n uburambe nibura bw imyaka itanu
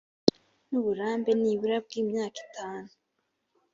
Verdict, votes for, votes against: accepted, 2, 0